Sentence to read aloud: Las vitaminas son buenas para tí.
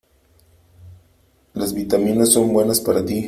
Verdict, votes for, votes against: accepted, 3, 0